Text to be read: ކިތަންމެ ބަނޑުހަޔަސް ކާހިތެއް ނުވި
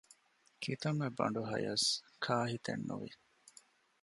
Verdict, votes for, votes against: accepted, 2, 0